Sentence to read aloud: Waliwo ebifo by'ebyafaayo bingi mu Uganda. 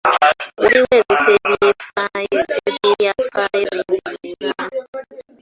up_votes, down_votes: 0, 2